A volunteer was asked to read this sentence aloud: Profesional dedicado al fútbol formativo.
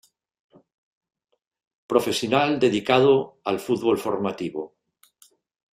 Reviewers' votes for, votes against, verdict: 2, 0, accepted